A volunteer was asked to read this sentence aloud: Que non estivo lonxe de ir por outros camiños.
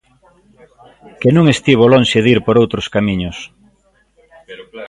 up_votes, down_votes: 1, 2